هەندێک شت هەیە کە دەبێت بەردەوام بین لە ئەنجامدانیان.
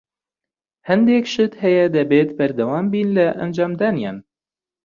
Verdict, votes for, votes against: rejected, 1, 2